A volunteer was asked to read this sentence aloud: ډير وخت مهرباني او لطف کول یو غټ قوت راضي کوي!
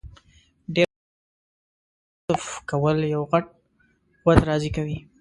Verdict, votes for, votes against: rejected, 0, 2